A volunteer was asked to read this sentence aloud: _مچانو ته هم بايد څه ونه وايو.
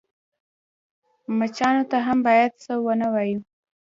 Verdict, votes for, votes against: accepted, 2, 0